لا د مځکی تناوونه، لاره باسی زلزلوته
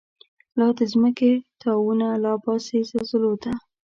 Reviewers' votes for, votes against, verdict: 2, 0, accepted